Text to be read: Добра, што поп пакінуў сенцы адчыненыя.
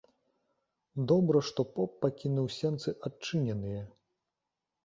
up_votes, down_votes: 3, 0